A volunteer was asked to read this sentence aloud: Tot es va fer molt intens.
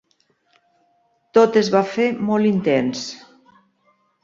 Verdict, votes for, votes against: accepted, 2, 0